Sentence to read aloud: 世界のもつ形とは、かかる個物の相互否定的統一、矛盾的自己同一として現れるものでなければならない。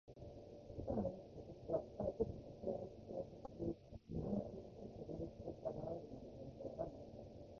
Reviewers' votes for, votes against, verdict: 1, 3, rejected